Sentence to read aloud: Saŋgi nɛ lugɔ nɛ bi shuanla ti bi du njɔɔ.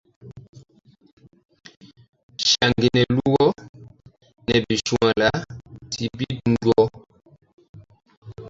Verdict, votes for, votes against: rejected, 0, 2